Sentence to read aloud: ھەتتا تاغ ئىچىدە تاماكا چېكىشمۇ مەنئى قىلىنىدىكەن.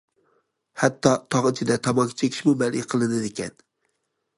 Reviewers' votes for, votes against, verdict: 2, 0, accepted